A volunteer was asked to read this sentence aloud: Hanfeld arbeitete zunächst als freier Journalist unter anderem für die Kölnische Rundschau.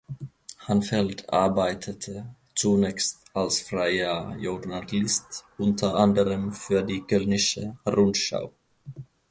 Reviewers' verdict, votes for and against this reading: rejected, 1, 2